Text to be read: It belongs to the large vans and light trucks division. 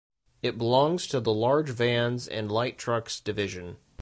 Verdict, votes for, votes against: accepted, 2, 0